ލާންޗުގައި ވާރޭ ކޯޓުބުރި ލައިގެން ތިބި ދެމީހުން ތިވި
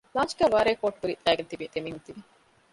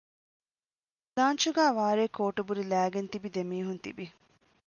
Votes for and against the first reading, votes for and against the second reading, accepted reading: 0, 2, 2, 0, second